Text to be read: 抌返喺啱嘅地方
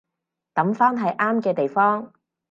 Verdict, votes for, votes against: accepted, 4, 0